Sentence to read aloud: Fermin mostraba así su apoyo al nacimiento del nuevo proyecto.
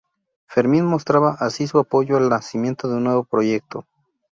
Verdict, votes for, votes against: rejected, 0, 2